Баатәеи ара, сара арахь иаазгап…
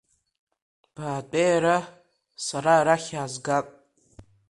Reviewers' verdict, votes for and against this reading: accepted, 3, 0